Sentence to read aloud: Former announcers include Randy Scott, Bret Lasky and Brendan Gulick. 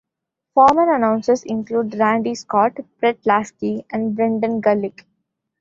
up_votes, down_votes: 2, 0